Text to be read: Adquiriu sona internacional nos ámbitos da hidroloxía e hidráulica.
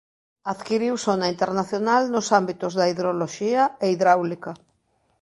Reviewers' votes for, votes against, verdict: 0, 2, rejected